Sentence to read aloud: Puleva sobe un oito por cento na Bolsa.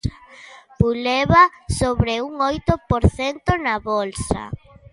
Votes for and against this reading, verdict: 0, 2, rejected